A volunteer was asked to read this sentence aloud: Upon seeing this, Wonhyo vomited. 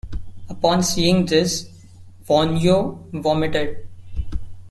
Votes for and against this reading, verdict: 2, 0, accepted